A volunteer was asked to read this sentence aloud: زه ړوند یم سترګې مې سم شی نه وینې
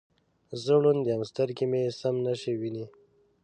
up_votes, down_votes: 0, 2